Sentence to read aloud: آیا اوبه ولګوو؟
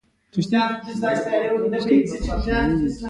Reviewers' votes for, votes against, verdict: 1, 2, rejected